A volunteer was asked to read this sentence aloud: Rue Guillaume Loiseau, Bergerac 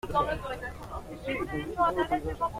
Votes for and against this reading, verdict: 0, 2, rejected